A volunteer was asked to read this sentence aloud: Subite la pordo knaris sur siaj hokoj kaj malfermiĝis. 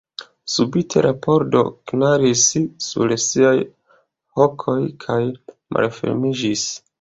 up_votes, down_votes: 2, 1